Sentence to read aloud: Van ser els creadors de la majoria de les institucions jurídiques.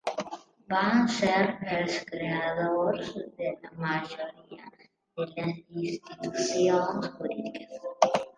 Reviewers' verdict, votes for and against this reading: rejected, 1, 2